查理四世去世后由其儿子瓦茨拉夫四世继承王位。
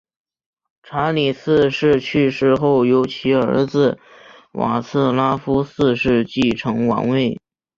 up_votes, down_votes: 3, 0